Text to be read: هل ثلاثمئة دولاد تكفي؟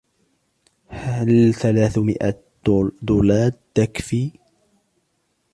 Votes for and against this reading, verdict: 1, 3, rejected